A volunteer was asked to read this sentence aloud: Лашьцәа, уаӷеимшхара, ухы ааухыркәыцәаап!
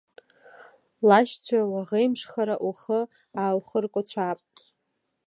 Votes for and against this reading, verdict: 1, 2, rejected